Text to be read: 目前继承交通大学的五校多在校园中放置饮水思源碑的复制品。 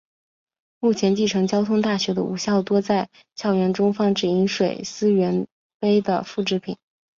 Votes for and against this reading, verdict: 2, 0, accepted